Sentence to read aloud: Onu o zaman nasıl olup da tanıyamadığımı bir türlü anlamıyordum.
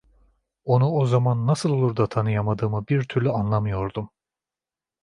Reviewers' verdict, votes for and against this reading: rejected, 1, 2